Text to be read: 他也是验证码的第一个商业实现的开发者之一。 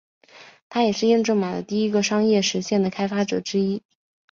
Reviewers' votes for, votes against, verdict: 3, 1, accepted